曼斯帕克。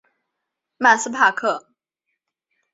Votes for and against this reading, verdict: 9, 0, accepted